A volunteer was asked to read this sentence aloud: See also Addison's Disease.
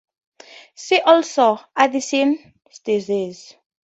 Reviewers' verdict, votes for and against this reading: rejected, 0, 4